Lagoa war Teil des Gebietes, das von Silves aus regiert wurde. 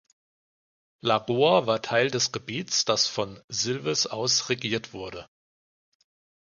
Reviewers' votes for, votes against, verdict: 1, 2, rejected